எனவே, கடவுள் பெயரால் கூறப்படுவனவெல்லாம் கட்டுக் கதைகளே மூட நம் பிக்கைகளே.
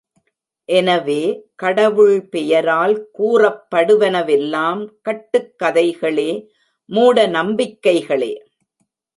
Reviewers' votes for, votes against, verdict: 1, 2, rejected